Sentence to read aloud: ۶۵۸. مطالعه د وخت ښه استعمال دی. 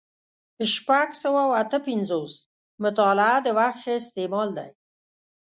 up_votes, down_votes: 0, 2